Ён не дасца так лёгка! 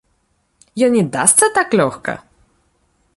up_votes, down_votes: 0, 2